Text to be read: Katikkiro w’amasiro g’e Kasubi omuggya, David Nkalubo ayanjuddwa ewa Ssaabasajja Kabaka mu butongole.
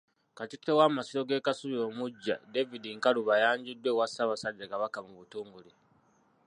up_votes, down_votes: 0, 2